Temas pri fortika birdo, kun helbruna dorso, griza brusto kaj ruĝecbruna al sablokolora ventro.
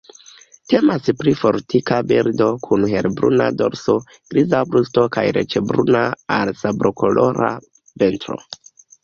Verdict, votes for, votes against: rejected, 1, 2